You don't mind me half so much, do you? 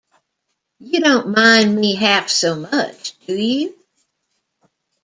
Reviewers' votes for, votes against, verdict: 2, 0, accepted